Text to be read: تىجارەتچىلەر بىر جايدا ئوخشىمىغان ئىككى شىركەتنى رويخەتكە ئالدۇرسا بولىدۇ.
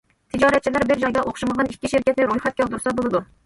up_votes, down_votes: 2, 0